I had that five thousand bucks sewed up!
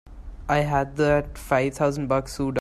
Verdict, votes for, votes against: rejected, 0, 3